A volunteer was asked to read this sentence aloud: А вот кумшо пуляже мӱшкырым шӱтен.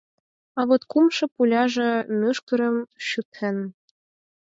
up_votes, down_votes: 4, 0